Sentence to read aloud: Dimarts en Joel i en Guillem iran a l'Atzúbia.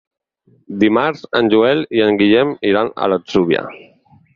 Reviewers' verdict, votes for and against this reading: accepted, 4, 0